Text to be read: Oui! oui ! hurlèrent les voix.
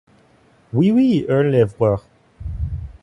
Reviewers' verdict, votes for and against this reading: accepted, 2, 1